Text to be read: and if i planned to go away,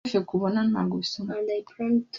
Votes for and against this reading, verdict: 0, 2, rejected